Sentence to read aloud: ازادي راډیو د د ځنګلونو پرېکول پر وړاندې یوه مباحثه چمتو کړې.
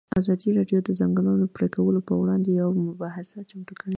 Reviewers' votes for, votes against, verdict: 2, 0, accepted